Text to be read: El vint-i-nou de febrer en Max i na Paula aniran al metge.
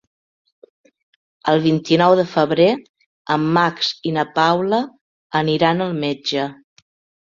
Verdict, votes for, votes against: accepted, 3, 0